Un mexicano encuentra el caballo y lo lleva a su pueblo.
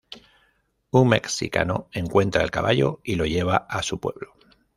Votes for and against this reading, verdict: 0, 2, rejected